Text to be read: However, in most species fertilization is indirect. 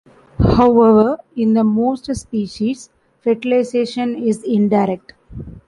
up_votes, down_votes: 0, 2